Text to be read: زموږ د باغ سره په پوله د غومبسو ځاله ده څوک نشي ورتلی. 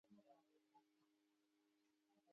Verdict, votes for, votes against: rejected, 1, 2